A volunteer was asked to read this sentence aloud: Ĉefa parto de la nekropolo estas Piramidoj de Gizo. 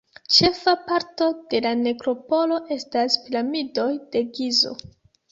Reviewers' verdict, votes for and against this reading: accepted, 2, 0